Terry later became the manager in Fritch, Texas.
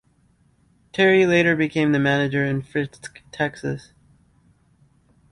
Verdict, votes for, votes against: rejected, 0, 2